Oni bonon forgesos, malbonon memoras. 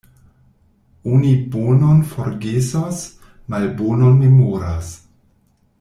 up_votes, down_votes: 1, 2